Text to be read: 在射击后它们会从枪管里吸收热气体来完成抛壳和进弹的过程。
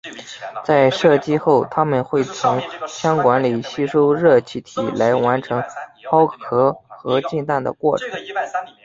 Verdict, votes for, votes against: accepted, 3, 1